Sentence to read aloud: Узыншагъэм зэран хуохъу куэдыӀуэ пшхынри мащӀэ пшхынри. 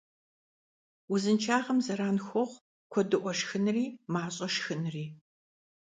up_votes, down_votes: 0, 2